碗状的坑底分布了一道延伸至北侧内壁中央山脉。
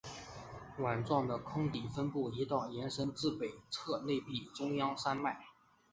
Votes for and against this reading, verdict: 7, 0, accepted